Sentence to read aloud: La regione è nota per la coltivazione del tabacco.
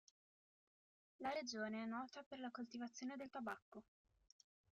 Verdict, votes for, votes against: accepted, 2, 0